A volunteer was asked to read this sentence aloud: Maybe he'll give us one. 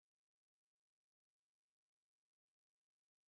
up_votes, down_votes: 0, 3